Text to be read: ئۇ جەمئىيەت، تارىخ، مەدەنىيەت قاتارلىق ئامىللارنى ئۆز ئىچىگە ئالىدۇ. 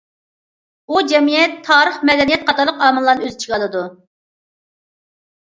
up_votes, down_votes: 2, 0